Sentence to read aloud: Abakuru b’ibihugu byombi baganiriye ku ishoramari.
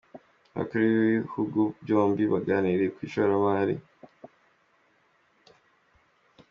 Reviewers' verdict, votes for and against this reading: accepted, 2, 1